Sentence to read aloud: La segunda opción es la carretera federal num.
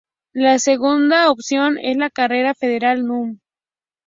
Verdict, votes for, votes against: rejected, 0, 2